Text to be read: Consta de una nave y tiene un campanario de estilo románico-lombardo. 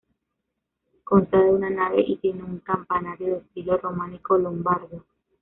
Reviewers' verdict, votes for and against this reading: rejected, 1, 2